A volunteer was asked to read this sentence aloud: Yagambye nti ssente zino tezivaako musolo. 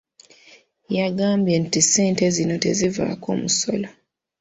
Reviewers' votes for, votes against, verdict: 2, 0, accepted